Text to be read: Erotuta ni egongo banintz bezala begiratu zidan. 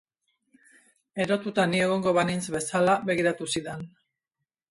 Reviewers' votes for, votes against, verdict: 2, 0, accepted